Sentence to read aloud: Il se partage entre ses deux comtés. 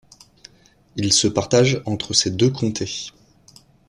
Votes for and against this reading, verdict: 2, 0, accepted